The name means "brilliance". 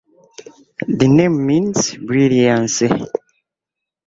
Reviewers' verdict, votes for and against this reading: rejected, 0, 2